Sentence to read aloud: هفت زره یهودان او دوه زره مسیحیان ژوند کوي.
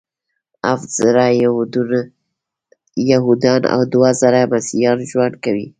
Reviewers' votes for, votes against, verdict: 0, 2, rejected